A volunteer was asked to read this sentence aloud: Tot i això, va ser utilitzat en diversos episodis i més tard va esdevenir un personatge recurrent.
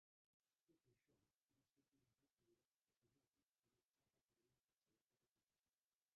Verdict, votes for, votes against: rejected, 0, 2